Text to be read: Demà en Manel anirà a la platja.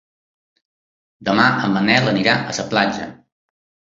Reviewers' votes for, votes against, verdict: 1, 2, rejected